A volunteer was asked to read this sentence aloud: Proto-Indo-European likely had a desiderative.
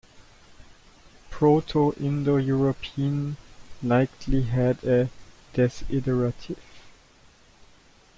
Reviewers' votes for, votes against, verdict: 2, 1, accepted